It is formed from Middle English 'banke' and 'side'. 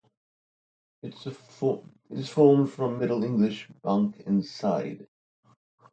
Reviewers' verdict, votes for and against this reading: rejected, 0, 2